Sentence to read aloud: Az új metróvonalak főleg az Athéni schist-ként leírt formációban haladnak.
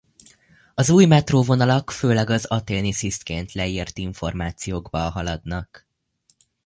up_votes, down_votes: 0, 2